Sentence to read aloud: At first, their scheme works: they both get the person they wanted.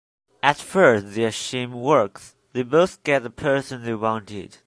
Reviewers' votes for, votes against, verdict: 2, 1, accepted